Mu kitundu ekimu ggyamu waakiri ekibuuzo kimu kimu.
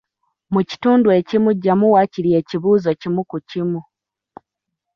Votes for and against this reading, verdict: 0, 2, rejected